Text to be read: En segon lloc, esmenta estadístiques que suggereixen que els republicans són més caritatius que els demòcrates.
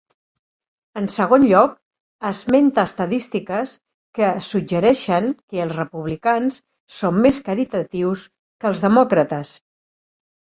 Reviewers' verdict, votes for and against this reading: rejected, 1, 2